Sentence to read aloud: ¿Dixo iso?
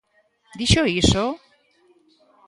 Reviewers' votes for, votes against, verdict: 1, 2, rejected